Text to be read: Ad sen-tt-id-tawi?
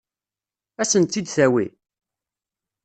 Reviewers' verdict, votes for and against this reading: rejected, 1, 2